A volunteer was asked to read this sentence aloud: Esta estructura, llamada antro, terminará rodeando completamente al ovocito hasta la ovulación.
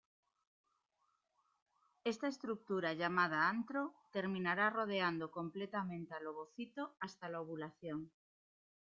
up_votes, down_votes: 2, 1